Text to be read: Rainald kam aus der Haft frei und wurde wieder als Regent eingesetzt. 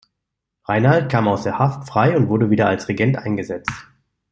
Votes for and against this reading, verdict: 2, 0, accepted